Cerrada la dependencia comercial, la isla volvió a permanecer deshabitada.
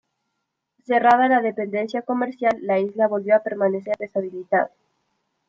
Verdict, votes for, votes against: rejected, 0, 2